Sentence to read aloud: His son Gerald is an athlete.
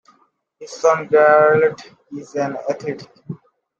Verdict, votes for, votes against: accepted, 2, 0